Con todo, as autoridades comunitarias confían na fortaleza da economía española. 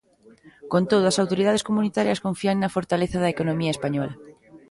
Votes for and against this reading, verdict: 1, 2, rejected